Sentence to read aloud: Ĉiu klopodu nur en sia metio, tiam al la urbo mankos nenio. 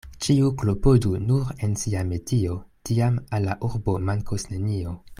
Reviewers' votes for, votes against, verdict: 2, 0, accepted